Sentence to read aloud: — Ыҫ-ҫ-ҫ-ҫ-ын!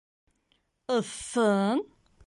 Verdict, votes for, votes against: accepted, 2, 0